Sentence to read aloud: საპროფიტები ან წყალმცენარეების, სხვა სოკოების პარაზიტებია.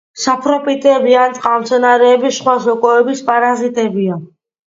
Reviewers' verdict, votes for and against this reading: accepted, 2, 0